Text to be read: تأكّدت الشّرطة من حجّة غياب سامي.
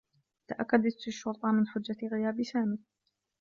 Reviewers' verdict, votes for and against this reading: accepted, 2, 0